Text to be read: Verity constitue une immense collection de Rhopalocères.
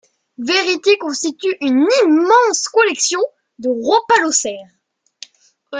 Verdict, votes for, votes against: rejected, 1, 2